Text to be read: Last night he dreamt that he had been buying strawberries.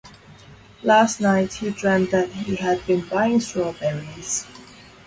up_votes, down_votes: 2, 2